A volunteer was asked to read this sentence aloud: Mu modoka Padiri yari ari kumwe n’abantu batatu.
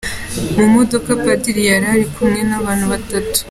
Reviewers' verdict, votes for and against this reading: accepted, 3, 1